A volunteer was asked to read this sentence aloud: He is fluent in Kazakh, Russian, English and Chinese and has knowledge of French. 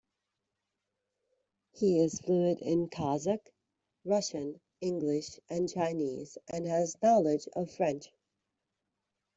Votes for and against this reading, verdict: 2, 0, accepted